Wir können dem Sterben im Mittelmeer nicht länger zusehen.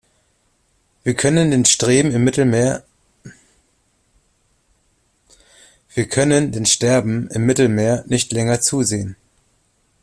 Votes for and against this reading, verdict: 0, 2, rejected